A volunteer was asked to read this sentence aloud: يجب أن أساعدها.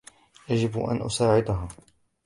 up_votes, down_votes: 2, 0